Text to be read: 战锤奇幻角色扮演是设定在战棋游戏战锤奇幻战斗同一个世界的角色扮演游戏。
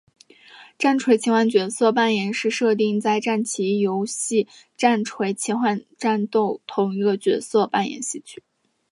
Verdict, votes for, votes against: accepted, 6, 2